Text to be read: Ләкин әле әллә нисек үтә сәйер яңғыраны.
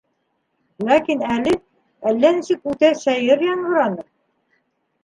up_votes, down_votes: 2, 0